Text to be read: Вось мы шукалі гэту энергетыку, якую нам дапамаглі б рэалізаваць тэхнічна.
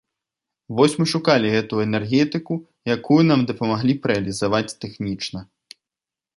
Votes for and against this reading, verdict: 2, 0, accepted